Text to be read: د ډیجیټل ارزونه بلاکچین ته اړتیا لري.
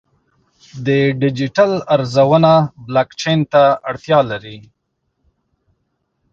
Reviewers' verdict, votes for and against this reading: accepted, 2, 0